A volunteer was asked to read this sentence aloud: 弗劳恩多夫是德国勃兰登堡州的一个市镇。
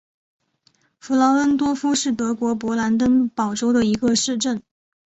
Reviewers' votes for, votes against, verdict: 5, 0, accepted